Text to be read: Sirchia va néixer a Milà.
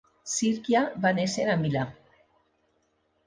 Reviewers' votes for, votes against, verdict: 2, 0, accepted